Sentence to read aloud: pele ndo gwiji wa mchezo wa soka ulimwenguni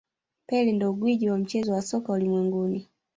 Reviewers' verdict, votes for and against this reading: rejected, 1, 2